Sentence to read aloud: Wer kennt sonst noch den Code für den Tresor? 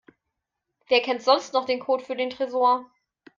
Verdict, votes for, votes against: accepted, 2, 1